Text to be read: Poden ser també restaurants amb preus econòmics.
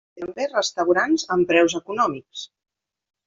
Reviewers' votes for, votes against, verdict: 0, 2, rejected